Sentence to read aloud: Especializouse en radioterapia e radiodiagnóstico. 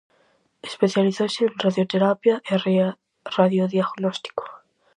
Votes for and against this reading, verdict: 0, 4, rejected